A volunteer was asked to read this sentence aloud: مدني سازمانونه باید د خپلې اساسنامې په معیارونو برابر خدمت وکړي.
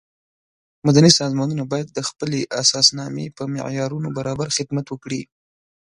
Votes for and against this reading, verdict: 2, 0, accepted